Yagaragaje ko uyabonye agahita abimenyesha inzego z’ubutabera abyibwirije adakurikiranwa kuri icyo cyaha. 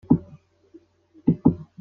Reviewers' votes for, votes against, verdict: 0, 2, rejected